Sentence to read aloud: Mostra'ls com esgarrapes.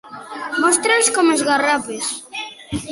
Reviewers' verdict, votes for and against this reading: accepted, 2, 0